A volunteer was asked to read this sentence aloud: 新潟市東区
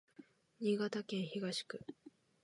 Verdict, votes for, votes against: rejected, 1, 2